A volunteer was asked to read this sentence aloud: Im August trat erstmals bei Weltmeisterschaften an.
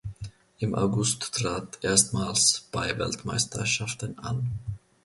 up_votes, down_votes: 1, 2